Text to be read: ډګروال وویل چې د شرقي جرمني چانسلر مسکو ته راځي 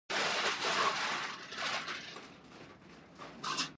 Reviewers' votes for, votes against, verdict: 0, 2, rejected